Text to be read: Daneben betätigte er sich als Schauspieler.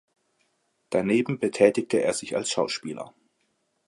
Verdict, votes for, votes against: accepted, 2, 0